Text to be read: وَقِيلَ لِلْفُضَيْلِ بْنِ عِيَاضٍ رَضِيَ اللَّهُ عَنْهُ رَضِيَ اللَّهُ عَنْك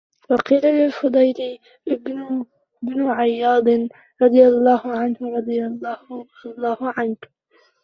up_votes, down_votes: 0, 2